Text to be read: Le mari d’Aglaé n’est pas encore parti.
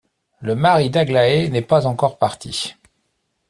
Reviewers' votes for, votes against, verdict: 2, 0, accepted